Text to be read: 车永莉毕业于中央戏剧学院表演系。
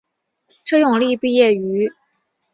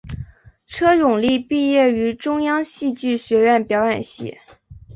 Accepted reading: second